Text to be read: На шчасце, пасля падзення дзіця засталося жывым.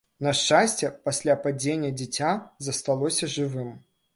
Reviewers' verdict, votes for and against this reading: accepted, 2, 0